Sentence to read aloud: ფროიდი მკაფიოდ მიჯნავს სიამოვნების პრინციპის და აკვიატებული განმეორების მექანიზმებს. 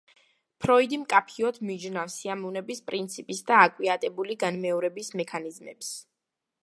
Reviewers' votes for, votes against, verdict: 2, 0, accepted